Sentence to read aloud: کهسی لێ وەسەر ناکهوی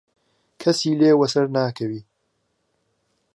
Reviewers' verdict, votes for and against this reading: accepted, 3, 1